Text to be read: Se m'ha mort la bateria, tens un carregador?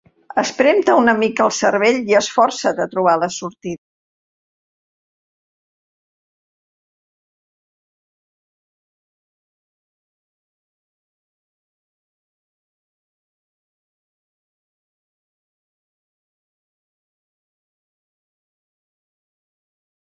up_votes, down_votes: 0, 2